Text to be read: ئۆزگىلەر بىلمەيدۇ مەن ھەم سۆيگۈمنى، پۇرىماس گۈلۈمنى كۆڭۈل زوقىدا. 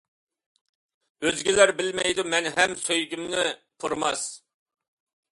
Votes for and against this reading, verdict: 0, 2, rejected